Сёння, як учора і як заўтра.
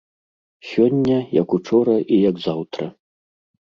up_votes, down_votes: 1, 2